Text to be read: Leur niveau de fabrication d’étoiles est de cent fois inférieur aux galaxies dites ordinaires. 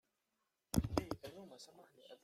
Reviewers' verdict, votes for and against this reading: rejected, 0, 2